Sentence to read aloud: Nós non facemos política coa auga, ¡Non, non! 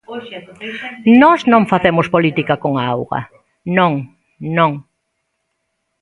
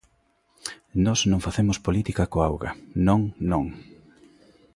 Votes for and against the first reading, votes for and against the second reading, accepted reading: 0, 2, 2, 0, second